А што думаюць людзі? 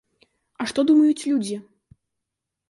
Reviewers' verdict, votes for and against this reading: accepted, 2, 0